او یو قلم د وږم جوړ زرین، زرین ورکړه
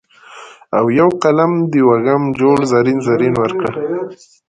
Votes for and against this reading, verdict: 1, 2, rejected